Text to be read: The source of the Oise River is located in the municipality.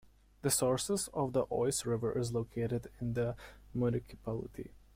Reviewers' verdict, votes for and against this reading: rejected, 1, 3